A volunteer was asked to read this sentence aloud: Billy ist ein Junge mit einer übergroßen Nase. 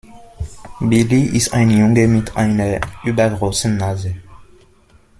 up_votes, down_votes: 1, 2